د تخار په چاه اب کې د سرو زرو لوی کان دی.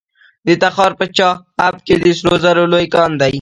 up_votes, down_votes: 1, 2